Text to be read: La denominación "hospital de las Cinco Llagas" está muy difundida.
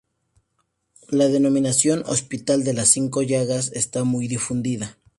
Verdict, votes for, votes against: accepted, 2, 0